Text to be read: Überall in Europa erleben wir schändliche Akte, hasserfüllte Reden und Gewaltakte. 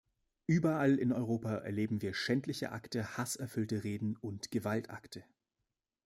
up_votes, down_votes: 2, 0